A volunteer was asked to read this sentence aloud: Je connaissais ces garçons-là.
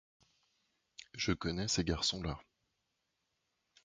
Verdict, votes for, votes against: rejected, 0, 2